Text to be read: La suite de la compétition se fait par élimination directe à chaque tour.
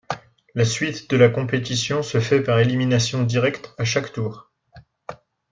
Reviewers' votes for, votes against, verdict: 2, 0, accepted